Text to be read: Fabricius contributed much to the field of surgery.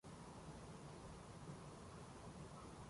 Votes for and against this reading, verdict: 0, 2, rejected